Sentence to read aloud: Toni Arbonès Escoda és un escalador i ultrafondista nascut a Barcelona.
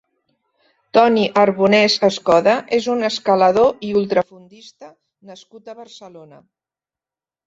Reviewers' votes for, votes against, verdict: 0, 2, rejected